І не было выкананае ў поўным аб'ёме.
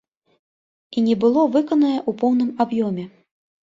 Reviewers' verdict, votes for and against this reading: rejected, 0, 2